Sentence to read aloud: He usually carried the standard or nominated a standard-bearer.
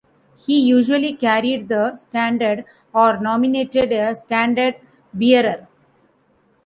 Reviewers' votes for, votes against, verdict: 2, 1, accepted